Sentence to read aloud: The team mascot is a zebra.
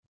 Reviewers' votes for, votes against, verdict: 0, 2, rejected